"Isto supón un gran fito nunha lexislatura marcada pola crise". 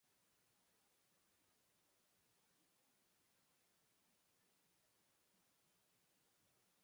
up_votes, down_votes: 0, 2